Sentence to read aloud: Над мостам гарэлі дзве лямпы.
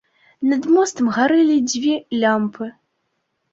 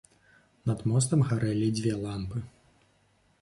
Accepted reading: first